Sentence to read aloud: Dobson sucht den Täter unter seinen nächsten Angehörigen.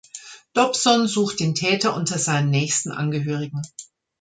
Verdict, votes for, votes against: accepted, 3, 0